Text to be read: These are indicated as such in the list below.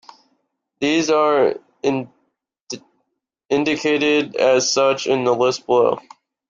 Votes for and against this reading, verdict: 1, 2, rejected